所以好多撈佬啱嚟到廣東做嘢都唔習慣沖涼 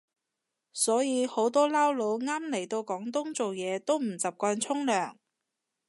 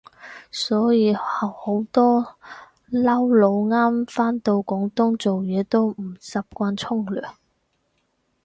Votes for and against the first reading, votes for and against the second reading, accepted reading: 2, 0, 0, 4, first